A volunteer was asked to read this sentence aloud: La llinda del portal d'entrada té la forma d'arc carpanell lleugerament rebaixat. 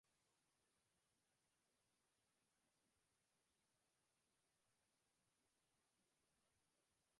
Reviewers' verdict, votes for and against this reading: rejected, 0, 3